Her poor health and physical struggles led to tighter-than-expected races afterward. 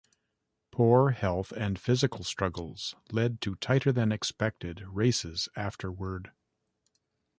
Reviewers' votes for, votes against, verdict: 1, 2, rejected